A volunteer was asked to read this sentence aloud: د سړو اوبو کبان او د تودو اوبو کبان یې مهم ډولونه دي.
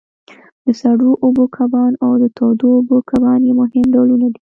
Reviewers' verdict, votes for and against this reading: accepted, 2, 0